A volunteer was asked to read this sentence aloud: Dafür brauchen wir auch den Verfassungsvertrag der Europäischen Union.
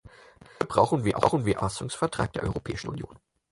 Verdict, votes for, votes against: rejected, 0, 4